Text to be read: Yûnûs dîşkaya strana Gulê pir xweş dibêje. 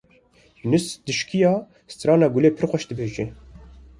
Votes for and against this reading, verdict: 2, 1, accepted